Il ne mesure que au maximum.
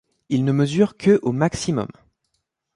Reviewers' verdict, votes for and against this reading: accepted, 2, 0